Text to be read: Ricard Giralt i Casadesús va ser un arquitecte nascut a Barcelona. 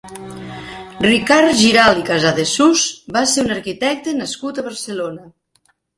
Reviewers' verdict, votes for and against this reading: accepted, 2, 1